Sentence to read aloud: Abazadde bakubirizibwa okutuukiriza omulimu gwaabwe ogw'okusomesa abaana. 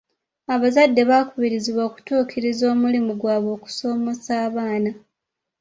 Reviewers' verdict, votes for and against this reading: accepted, 2, 1